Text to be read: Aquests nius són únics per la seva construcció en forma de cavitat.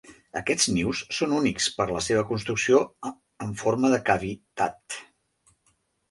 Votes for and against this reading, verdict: 0, 2, rejected